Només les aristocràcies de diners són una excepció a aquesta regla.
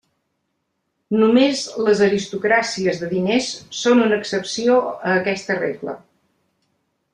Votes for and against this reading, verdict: 3, 0, accepted